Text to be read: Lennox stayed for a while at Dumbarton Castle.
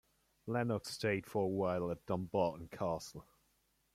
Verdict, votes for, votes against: accepted, 2, 1